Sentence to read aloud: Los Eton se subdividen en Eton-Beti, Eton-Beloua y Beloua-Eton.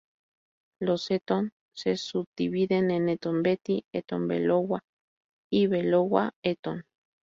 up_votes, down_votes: 2, 0